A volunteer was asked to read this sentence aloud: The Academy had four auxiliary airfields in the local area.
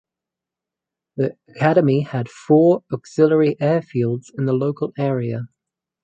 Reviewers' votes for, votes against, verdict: 4, 0, accepted